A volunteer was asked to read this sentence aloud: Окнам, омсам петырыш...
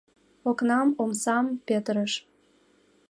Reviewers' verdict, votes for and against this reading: accepted, 2, 0